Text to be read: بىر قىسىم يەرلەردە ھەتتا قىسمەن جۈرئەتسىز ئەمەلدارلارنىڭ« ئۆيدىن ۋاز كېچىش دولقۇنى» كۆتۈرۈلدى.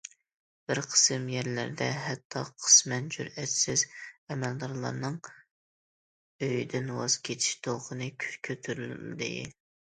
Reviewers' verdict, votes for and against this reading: accepted, 2, 1